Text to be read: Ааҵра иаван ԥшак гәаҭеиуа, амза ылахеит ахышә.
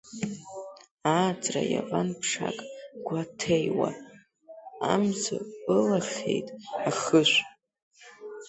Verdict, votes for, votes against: rejected, 0, 2